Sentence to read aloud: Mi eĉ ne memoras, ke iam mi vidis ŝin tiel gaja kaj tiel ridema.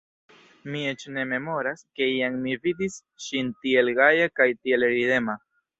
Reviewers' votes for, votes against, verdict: 1, 2, rejected